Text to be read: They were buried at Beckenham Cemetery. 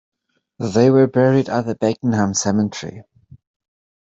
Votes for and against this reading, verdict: 1, 2, rejected